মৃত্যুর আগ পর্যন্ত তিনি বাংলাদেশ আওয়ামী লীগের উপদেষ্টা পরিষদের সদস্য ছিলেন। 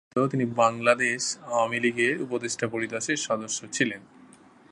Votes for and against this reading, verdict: 0, 2, rejected